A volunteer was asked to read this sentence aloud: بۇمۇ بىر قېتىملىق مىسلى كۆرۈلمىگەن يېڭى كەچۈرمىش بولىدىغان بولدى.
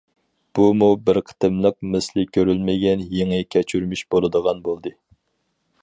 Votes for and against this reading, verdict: 4, 0, accepted